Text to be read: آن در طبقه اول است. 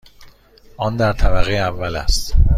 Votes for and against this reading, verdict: 2, 0, accepted